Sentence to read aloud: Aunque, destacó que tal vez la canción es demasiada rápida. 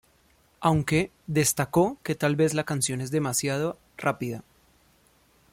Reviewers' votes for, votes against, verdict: 1, 2, rejected